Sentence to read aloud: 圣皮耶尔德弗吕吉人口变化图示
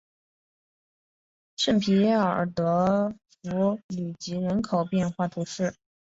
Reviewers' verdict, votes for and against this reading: accepted, 3, 1